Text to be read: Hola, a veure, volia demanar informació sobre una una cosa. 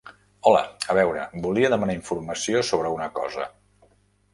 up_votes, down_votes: 0, 2